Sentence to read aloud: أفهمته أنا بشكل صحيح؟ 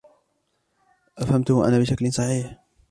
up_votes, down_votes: 2, 1